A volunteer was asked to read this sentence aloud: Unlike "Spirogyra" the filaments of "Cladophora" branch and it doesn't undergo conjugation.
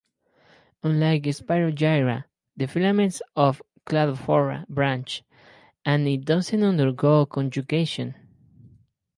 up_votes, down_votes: 4, 0